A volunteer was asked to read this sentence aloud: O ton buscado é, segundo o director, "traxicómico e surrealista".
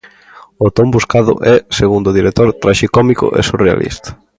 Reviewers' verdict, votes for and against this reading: accepted, 2, 0